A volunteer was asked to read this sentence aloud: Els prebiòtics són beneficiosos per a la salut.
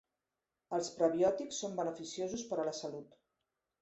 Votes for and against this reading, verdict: 3, 0, accepted